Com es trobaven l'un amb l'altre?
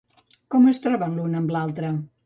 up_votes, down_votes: 1, 2